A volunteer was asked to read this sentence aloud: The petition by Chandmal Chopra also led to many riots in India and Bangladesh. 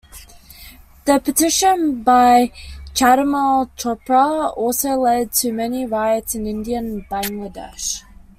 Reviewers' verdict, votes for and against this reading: accepted, 2, 1